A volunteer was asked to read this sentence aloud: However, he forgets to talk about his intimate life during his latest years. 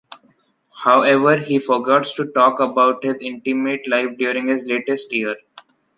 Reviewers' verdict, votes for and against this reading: rejected, 0, 2